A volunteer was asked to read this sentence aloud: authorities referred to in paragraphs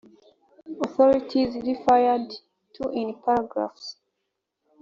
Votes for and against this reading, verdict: 1, 2, rejected